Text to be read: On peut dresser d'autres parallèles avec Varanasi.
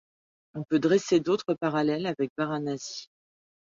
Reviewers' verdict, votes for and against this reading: accepted, 2, 0